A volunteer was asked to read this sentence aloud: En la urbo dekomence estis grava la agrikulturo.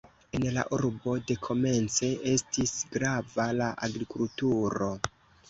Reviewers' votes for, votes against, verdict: 2, 0, accepted